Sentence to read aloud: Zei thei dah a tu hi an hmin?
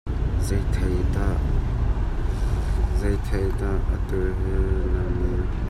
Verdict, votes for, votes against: rejected, 0, 2